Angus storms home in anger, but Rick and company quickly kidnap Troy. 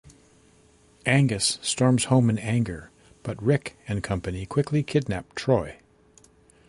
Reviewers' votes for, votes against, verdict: 2, 0, accepted